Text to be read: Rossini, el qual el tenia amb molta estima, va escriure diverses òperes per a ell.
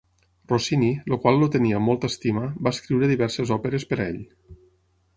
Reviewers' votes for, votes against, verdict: 0, 6, rejected